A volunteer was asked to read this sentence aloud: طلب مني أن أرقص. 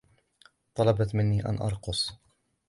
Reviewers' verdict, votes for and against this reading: rejected, 0, 3